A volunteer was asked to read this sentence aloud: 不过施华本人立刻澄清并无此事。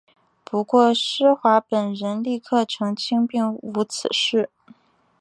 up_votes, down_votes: 2, 0